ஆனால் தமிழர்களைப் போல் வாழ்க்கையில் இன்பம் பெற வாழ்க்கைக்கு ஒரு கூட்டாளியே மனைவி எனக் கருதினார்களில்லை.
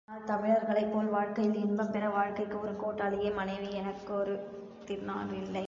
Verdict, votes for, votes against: accepted, 3, 0